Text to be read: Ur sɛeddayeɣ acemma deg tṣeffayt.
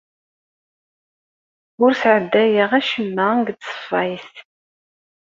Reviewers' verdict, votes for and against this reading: accepted, 2, 0